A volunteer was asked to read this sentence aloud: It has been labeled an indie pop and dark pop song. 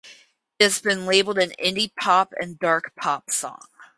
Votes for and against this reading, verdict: 2, 2, rejected